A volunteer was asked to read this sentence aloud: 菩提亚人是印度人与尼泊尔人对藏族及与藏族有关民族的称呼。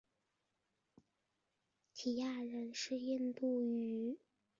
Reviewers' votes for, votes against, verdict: 0, 2, rejected